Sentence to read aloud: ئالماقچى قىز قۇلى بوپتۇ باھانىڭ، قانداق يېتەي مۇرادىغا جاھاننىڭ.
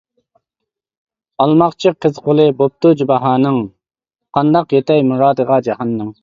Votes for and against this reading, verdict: 0, 2, rejected